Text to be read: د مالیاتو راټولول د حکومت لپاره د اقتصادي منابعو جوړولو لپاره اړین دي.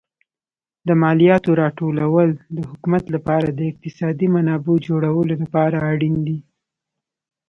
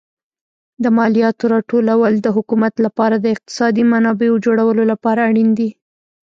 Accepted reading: first